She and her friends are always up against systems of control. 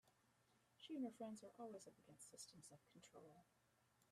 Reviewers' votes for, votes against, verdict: 1, 2, rejected